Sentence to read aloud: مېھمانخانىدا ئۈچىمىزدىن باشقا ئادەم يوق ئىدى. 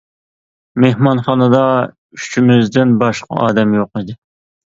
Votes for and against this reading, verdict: 2, 0, accepted